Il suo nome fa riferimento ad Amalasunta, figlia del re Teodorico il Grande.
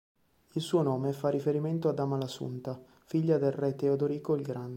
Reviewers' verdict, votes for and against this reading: accepted, 2, 1